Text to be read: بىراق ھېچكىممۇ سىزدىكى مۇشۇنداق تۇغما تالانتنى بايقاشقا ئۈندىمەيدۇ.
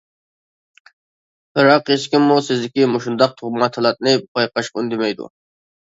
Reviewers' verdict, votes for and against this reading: rejected, 0, 2